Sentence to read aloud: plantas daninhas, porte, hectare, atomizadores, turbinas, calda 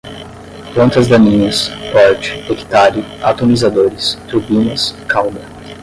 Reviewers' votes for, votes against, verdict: 5, 10, rejected